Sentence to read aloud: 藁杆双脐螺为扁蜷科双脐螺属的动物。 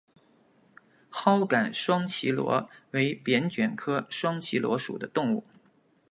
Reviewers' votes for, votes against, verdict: 2, 1, accepted